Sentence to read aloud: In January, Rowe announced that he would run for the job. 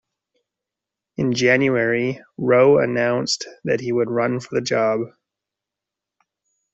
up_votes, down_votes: 2, 0